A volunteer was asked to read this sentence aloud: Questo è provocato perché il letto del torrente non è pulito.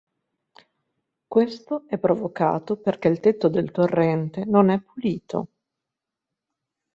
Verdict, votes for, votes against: rejected, 0, 2